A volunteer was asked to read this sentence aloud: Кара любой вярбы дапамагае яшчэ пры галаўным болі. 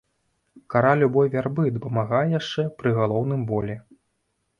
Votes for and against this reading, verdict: 0, 2, rejected